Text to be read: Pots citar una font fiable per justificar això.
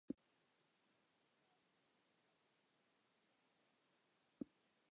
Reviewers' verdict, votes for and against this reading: rejected, 0, 2